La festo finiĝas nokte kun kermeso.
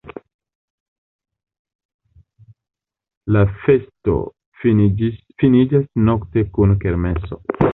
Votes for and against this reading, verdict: 0, 2, rejected